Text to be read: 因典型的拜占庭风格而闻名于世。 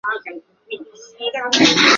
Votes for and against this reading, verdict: 1, 2, rejected